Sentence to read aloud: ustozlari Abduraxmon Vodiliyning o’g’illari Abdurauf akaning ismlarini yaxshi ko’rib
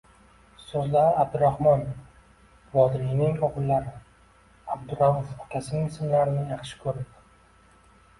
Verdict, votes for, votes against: rejected, 1, 2